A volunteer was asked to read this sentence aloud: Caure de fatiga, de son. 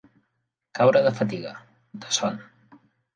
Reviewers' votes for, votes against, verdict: 5, 0, accepted